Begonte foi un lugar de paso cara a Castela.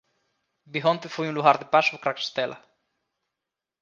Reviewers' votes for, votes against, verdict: 0, 2, rejected